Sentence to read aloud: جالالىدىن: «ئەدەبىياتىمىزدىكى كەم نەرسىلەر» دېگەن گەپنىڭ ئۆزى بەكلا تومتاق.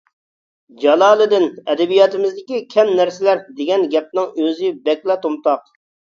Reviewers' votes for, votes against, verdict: 2, 0, accepted